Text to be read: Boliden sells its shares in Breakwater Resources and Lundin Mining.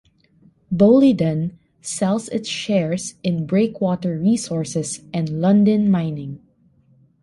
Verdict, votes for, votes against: accepted, 2, 0